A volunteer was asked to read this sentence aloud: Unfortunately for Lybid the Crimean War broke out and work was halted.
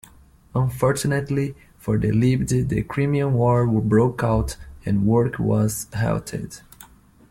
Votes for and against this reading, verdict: 0, 2, rejected